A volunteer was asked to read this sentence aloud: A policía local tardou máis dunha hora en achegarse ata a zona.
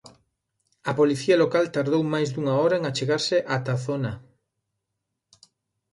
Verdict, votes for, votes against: accepted, 2, 0